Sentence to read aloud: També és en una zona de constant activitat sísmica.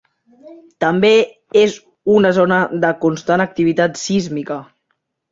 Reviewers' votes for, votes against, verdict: 0, 2, rejected